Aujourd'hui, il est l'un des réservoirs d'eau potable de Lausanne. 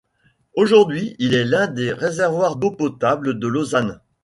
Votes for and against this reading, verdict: 2, 0, accepted